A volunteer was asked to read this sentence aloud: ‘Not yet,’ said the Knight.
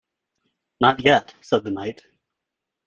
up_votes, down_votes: 2, 0